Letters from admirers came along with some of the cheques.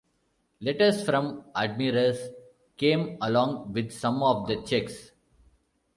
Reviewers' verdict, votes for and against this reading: rejected, 1, 2